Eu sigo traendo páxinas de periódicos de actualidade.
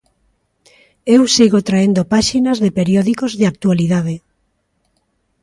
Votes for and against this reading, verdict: 4, 0, accepted